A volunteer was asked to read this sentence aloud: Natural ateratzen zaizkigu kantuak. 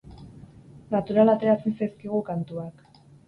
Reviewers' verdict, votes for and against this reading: accepted, 6, 2